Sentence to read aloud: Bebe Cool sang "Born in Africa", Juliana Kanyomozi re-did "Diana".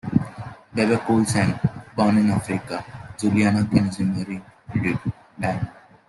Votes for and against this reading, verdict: 2, 1, accepted